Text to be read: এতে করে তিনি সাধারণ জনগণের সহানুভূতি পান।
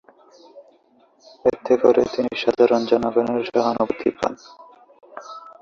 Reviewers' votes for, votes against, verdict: 5, 7, rejected